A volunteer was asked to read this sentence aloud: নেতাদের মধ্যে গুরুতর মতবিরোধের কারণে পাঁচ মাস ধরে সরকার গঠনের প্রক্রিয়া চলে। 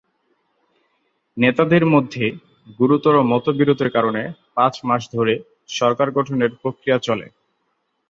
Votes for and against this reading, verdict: 2, 0, accepted